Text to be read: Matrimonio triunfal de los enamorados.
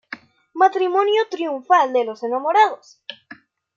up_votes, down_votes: 1, 2